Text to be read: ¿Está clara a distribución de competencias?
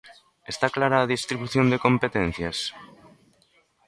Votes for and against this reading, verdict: 2, 0, accepted